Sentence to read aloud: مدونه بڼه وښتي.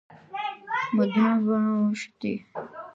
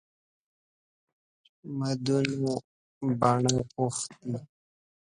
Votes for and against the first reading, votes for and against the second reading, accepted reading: 1, 2, 2, 0, second